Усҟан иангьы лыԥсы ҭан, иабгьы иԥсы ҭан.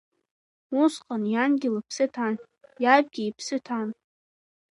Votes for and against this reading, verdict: 2, 1, accepted